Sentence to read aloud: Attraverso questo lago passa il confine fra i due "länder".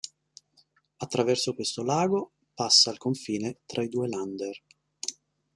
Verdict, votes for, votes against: accepted, 3, 1